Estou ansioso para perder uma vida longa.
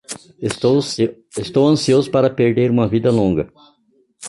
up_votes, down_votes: 0, 2